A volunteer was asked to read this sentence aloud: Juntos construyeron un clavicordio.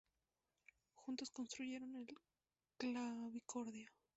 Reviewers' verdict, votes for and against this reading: rejected, 0, 2